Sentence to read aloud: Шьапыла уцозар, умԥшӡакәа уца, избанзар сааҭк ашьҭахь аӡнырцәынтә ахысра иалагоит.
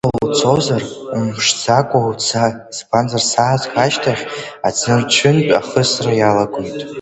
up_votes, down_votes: 1, 2